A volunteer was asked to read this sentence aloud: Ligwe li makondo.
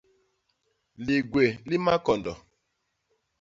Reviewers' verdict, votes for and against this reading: rejected, 0, 2